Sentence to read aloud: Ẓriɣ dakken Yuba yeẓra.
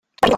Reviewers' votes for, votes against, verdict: 0, 2, rejected